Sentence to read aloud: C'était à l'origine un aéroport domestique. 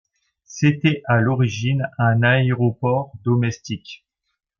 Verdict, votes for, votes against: accepted, 2, 0